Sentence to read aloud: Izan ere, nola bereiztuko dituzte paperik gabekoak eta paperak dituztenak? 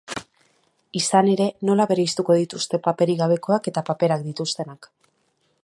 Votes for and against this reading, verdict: 1, 2, rejected